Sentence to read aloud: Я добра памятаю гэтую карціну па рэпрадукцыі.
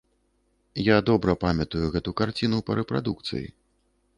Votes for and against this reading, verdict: 0, 2, rejected